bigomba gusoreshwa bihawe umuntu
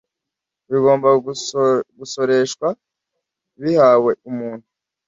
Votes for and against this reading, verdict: 1, 2, rejected